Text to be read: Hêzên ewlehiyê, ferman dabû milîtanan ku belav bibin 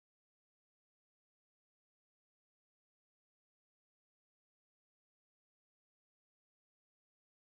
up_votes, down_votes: 1, 2